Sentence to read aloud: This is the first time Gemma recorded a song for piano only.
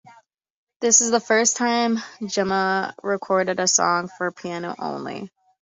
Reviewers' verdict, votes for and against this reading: accepted, 2, 0